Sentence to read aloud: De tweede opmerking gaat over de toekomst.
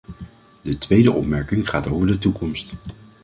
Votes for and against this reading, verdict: 2, 0, accepted